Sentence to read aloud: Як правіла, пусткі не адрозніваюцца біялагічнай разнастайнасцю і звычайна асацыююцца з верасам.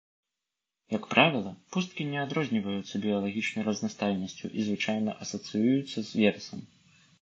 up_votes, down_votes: 2, 0